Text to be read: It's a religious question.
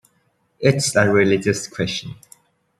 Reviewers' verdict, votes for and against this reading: accepted, 2, 0